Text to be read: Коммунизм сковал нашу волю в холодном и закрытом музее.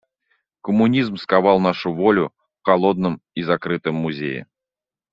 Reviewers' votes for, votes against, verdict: 2, 0, accepted